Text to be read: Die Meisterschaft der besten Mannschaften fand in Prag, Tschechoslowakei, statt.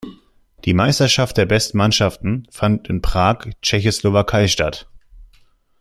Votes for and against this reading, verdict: 1, 2, rejected